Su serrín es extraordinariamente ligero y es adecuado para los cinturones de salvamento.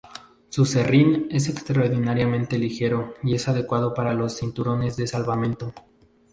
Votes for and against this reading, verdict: 2, 0, accepted